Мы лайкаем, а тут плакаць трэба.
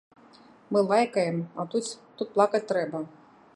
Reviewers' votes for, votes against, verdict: 0, 2, rejected